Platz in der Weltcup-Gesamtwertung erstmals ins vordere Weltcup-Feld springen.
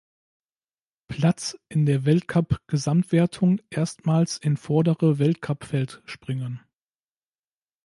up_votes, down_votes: 0, 2